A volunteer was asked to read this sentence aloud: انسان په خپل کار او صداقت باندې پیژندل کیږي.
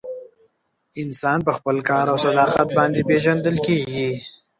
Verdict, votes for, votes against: rejected, 1, 2